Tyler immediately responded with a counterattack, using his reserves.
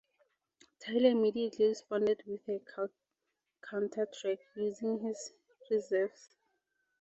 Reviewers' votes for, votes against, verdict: 0, 4, rejected